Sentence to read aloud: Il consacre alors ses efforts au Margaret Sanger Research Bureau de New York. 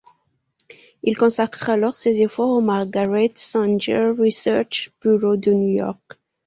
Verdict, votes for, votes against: accepted, 2, 0